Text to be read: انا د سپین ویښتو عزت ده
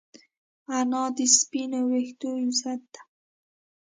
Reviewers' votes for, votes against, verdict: 2, 0, accepted